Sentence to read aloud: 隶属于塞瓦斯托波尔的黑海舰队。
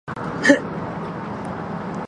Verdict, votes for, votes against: rejected, 0, 2